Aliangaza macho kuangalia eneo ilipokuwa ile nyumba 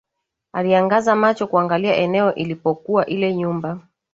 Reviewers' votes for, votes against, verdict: 2, 0, accepted